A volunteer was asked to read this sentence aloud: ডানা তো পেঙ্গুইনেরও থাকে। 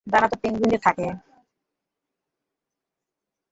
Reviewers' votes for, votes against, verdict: 0, 2, rejected